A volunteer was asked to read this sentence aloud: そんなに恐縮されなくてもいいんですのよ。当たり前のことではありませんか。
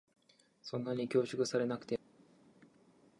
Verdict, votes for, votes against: rejected, 1, 2